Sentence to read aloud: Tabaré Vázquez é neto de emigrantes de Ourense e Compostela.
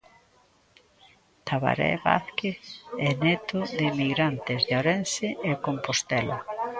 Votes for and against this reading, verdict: 0, 2, rejected